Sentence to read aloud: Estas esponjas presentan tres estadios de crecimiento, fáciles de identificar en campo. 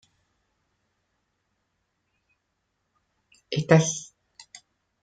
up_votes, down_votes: 0, 2